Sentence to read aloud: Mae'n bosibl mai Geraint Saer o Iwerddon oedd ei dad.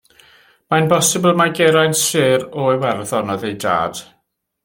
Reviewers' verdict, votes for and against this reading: rejected, 1, 2